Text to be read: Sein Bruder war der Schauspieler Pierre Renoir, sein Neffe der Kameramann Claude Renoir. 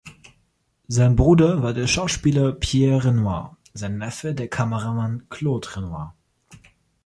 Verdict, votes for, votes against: accepted, 2, 0